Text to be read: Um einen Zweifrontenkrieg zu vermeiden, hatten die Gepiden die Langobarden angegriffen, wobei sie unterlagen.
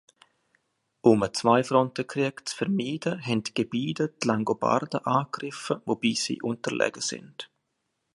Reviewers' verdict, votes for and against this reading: rejected, 1, 2